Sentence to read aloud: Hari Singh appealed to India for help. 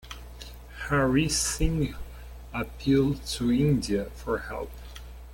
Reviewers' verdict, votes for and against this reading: rejected, 0, 2